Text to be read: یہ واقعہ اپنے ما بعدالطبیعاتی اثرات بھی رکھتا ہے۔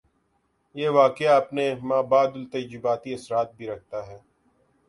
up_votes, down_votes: 2, 0